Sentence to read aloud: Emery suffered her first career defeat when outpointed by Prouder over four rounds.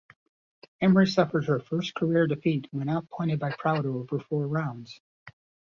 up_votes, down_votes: 2, 0